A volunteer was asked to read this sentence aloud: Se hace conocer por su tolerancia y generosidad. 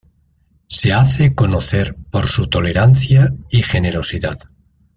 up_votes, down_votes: 2, 0